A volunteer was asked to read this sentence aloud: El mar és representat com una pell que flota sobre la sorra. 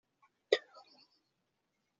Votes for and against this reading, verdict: 0, 2, rejected